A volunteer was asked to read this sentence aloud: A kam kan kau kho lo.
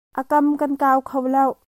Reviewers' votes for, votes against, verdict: 0, 2, rejected